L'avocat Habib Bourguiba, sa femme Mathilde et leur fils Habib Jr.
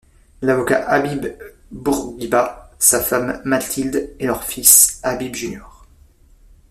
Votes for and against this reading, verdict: 0, 2, rejected